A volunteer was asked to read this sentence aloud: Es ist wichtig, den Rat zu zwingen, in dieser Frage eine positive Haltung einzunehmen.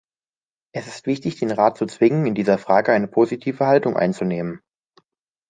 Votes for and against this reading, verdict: 2, 0, accepted